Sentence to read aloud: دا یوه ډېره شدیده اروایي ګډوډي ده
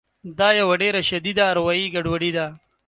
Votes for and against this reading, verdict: 3, 0, accepted